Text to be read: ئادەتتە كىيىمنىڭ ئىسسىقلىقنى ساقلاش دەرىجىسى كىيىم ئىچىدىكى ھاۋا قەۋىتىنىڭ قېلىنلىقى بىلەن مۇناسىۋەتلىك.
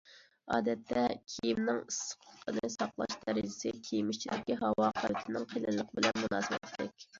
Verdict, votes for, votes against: accepted, 2, 1